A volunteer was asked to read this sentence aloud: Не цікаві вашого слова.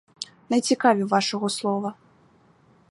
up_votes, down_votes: 4, 0